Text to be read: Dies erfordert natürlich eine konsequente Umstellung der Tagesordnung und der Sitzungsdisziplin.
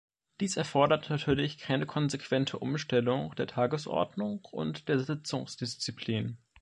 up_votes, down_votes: 0, 2